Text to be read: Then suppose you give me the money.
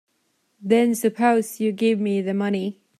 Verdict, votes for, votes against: accepted, 2, 1